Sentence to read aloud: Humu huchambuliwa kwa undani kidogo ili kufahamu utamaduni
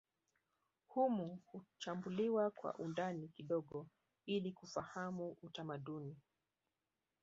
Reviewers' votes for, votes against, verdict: 0, 2, rejected